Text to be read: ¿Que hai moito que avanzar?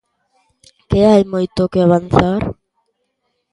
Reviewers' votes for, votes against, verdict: 2, 0, accepted